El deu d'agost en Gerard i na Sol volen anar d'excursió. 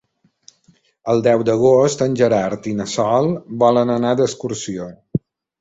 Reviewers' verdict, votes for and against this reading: accepted, 3, 0